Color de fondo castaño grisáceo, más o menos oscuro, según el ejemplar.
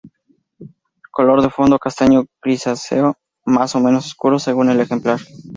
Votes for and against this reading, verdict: 2, 2, rejected